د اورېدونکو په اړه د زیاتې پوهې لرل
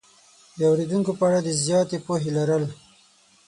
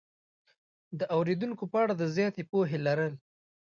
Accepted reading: second